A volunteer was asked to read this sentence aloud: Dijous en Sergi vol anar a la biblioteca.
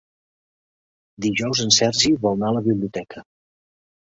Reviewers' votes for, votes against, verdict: 2, 0, accepted